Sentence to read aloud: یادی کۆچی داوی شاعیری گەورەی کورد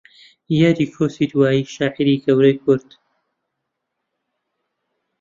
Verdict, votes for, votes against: accepted, 7, 2